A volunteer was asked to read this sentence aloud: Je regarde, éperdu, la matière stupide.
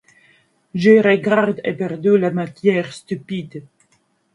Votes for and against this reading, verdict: 2, 0, accepted